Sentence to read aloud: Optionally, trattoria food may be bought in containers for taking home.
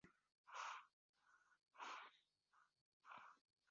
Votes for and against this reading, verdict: 0, 2, rejected